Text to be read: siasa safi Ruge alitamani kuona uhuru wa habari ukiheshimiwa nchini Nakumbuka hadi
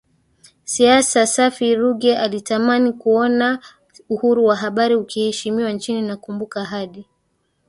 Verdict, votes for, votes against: accepted, 2, 1